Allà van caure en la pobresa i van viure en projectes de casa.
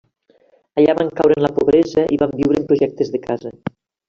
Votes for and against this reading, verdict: 1, 2, rejected